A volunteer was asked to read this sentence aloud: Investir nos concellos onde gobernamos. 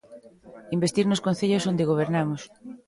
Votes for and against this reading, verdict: 2, 0, accepted